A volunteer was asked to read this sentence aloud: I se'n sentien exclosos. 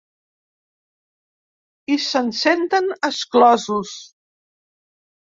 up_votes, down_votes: 1, 4